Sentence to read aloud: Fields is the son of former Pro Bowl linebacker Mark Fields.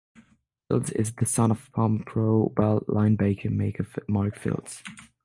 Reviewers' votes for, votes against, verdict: 0, 6, rejected